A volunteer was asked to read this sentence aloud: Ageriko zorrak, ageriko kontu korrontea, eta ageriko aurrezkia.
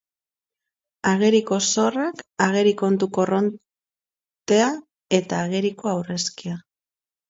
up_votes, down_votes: 0, 2